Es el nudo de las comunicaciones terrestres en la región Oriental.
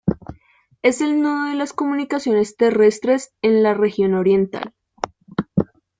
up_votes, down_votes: 2, 0